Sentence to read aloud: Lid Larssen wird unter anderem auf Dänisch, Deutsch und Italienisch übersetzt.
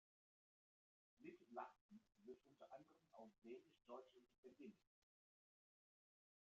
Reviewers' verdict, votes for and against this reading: rejected, 0, 2